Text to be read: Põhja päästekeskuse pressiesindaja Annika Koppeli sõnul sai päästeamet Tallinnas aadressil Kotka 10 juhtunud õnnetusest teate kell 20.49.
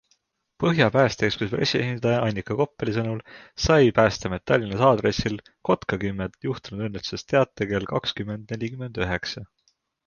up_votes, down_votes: 0, 2